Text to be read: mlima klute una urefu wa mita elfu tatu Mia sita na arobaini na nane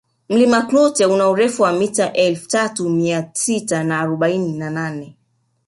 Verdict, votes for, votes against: accepted, 2, 1